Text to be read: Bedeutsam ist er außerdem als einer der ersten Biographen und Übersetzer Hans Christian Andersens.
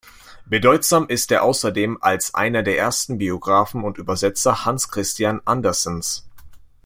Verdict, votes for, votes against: accepted, 2, 0